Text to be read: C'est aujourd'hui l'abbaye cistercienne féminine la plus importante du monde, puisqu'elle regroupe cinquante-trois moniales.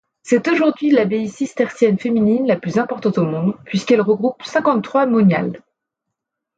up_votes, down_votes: 1, 2